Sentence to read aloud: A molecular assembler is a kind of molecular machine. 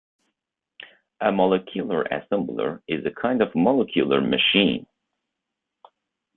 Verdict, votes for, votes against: rejected, 0, 2